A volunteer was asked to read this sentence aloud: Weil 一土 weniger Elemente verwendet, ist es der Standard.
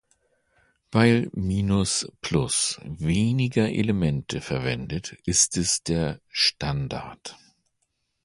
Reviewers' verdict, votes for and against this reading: rejected, 0, 2